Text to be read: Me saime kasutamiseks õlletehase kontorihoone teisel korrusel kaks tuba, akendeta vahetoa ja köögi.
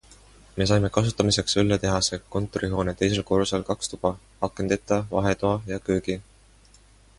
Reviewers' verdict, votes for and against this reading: accepted, 2, 0